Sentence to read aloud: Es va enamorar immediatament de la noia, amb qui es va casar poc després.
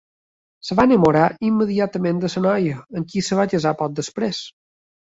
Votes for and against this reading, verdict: 1, 2, rejected